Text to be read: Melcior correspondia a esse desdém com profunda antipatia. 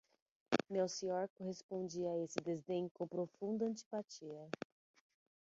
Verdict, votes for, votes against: accepted, 6, 0